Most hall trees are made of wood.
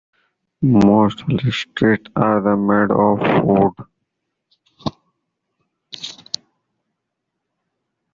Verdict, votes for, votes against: rejected, 1, 2